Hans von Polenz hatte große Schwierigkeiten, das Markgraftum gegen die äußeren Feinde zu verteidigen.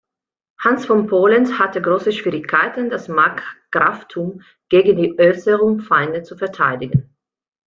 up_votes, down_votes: 0, 2